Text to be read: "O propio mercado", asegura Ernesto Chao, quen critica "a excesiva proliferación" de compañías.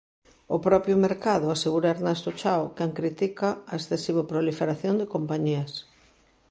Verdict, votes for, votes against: accepted, 2, 0